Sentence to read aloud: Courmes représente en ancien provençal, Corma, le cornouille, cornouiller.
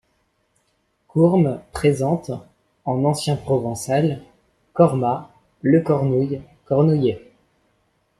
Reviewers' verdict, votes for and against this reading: rejected, 1, 2